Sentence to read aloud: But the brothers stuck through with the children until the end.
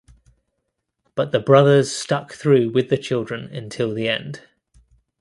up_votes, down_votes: 2, 0